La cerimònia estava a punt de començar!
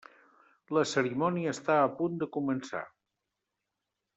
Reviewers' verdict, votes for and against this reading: rejected, 0, 2